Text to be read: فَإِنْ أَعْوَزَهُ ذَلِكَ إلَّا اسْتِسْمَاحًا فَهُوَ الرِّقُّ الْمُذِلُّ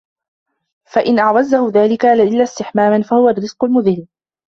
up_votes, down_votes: 0, 2